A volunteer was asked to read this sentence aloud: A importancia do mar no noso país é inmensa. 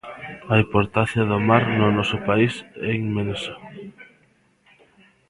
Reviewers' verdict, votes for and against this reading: rejected, 1, 2